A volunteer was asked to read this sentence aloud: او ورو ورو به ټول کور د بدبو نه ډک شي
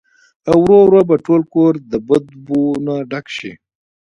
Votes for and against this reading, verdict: 1, 2, rejected